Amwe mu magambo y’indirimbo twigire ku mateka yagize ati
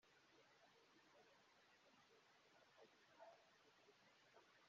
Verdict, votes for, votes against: rejected, 0, 2